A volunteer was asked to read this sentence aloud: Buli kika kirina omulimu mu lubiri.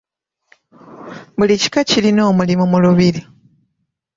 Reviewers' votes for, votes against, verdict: 1, 2, rejected